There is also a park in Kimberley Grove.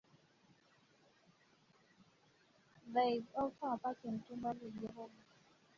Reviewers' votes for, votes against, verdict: 1, 2, rejected